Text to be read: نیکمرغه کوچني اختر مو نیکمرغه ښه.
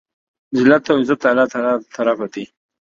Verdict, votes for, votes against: rejected, 0, 2